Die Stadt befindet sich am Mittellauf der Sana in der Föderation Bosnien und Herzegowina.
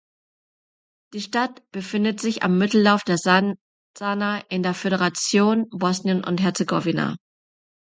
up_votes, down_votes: 0, 3